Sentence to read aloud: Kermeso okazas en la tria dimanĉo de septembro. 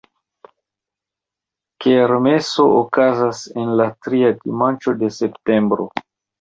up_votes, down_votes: 2, 1